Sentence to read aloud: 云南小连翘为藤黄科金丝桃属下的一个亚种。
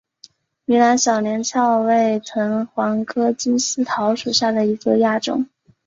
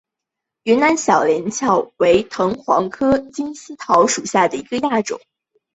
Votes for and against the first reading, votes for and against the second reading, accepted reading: 3, 0, 1, 2, first